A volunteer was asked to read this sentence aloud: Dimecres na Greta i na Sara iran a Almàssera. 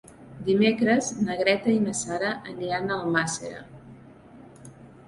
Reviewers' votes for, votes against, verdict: 1, 2, rejected